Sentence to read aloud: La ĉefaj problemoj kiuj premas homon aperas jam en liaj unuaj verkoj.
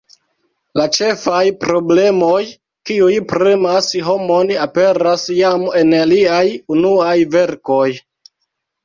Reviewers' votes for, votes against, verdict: 2, 0, accepted